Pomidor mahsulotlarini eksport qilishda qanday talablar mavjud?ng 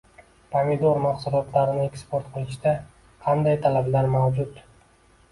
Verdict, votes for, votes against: rejected, 1, 2